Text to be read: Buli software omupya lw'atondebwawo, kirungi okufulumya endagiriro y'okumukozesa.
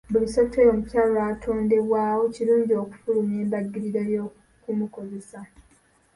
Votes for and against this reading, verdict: 0, 2, rejected